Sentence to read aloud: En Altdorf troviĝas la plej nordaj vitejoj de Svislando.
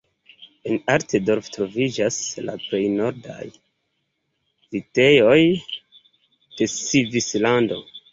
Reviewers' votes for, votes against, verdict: 2, 0, accepted